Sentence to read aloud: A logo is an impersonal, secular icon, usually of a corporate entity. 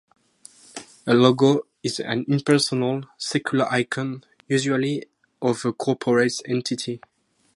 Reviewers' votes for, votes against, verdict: 4, 0, accepted